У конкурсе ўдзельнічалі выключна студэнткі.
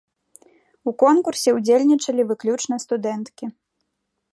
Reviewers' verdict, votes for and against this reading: accepted, 2, 0